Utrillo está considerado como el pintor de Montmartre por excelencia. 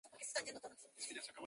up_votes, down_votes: 0, 4